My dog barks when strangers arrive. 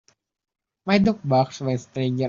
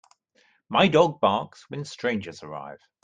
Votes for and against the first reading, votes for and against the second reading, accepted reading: 0, 3, 2, 0, second